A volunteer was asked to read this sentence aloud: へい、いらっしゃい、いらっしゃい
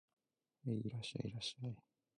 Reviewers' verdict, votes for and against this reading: rejected, 1, 2